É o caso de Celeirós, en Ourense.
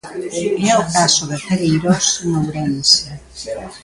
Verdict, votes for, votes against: accepted, 2, 1